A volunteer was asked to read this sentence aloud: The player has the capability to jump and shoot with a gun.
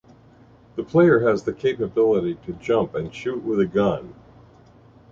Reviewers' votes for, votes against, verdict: 2, 0, accepted